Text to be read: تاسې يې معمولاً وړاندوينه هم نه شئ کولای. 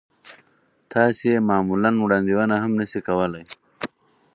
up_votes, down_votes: 2, 4